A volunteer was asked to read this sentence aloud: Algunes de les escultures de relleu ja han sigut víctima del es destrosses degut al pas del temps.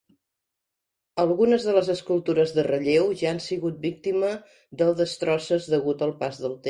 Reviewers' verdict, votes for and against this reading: rejected, 0, 2